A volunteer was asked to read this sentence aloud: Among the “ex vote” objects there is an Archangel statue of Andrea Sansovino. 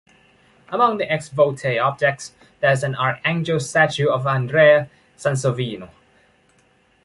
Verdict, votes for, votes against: rejected, 1, 2